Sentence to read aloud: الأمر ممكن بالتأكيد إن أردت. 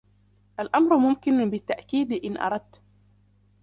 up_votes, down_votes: 2, 0